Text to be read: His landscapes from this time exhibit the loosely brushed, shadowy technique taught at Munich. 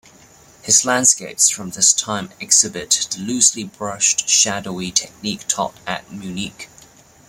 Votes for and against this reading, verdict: 2, 1, accepted